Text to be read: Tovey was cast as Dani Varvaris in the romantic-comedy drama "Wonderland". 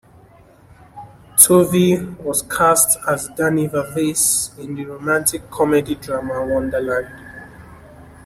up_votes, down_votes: 0, 2